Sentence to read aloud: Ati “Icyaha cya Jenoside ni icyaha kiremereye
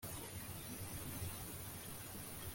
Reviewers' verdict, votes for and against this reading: rejected, 0, 3